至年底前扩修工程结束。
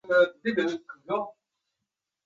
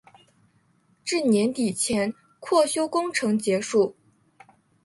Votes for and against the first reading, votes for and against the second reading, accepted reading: 0, 5, 7, 0, second